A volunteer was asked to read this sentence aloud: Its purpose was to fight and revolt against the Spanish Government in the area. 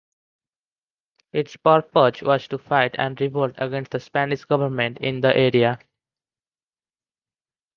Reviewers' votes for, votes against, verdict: 2, 0, accepted